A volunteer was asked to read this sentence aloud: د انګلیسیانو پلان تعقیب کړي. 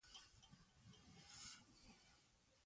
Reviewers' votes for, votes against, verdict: 0, 2, rejected